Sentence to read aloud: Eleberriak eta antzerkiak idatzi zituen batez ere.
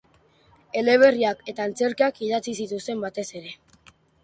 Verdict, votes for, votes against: rejected, 0, 3